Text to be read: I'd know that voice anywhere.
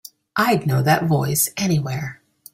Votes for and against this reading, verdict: 2, 0, accepted